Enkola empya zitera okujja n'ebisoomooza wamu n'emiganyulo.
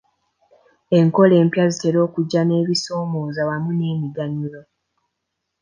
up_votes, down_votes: 2, 0